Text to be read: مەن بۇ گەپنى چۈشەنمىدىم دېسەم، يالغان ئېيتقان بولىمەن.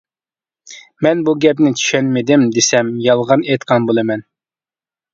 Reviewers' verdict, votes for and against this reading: accepted, 2, 0